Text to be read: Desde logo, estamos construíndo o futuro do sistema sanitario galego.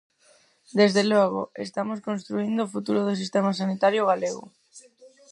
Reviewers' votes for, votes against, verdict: 2, 4, rejected